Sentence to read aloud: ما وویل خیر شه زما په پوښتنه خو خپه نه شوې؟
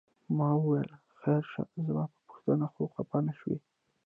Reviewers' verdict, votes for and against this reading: rejected, 0, 2